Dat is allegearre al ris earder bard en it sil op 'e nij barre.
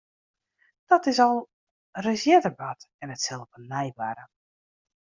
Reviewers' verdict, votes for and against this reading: rejected, 0, 2